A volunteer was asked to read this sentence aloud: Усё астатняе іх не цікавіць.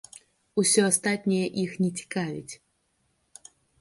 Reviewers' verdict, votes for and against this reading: accepted, 2, 0